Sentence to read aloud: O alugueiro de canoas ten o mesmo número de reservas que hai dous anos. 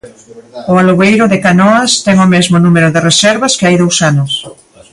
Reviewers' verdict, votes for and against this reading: rejected, 1, 2